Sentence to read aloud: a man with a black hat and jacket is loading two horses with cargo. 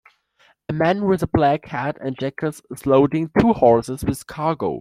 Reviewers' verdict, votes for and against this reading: accepted, 2, 0